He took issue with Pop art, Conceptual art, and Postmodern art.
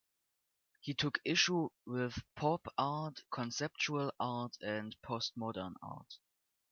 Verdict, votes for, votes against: accepted, 2, 1